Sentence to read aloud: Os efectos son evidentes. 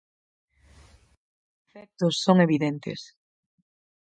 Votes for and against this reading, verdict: 0, 4, rejected